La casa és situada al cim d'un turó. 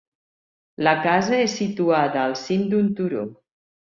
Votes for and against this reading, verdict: 4, 0, accepted